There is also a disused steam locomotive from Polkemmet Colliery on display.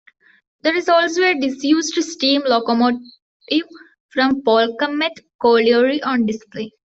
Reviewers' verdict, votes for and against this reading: accepted, 2, 0